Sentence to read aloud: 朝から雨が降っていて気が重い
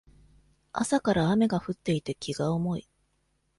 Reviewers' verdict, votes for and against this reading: accepted, 2, 0